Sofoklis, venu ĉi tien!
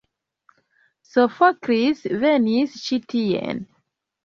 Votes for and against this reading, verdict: 1, 2, rejected